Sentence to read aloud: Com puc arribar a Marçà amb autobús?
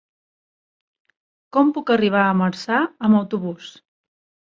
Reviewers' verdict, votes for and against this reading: rejected, 0, 2